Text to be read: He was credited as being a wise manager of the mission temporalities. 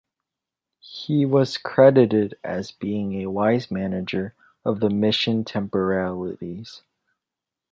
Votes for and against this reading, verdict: 2, 0, accepted